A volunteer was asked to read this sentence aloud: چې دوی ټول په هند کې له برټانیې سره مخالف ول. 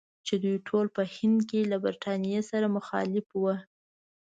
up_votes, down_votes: 2, 0